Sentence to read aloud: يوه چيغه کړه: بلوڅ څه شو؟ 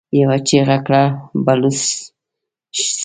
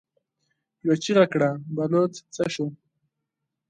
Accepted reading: second